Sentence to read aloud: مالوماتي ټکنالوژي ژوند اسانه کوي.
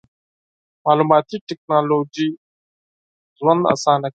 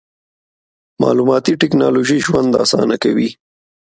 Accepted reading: second